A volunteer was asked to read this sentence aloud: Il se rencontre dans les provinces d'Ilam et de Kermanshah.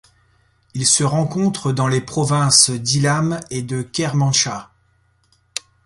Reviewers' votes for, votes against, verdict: 2, 0, accepted